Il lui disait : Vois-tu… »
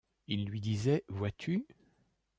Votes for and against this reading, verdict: 2, 0, accepted